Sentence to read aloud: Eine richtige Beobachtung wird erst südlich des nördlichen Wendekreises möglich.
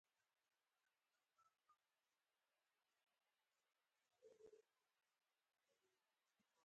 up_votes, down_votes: 0, 4